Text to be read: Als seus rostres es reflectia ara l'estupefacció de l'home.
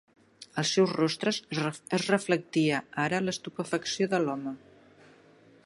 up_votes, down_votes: 0, 2